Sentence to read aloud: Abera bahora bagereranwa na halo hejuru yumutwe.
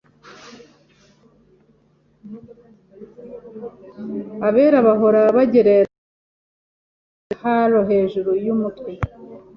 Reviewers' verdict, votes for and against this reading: rejected, 0, 2